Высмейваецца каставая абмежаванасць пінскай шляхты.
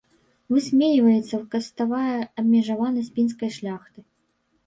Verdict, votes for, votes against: rejected, 1, 2